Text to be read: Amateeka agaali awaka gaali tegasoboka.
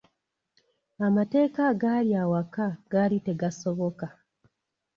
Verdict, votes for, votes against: accepted, 2, 0